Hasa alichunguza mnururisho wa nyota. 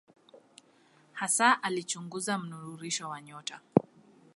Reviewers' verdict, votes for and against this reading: accepted, 2, 0